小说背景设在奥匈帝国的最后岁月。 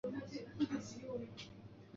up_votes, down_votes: 2, 3